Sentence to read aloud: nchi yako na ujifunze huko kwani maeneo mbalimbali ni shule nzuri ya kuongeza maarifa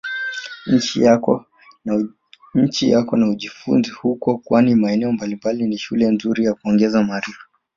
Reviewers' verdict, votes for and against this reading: rejected, 1, 2